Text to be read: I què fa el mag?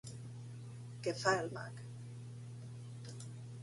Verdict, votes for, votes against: rejected, 0, 2